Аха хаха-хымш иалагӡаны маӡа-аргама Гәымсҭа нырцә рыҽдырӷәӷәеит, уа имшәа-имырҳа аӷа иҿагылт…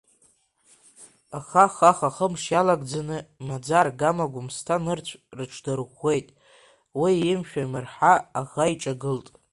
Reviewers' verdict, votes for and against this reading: accepted, 2, 1